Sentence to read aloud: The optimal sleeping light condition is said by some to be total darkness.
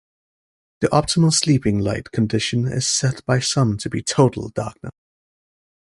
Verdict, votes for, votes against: rejected, 1, 2